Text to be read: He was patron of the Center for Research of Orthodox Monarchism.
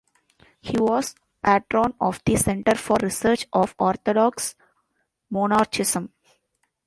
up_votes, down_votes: 0, 2